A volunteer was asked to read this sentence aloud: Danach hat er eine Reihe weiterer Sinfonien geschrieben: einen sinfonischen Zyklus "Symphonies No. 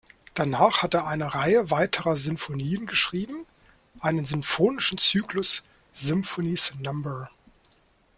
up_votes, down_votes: 1, 2